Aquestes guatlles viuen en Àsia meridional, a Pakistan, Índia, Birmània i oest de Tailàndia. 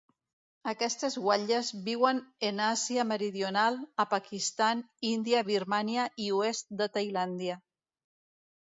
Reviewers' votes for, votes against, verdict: 1, 2, rejected